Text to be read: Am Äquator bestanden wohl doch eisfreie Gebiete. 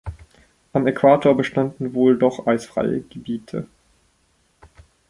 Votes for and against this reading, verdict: 2, 0, accepted